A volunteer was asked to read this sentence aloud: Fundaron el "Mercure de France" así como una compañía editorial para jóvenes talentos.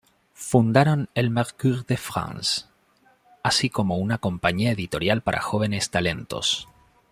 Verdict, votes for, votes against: rejected, 1, 2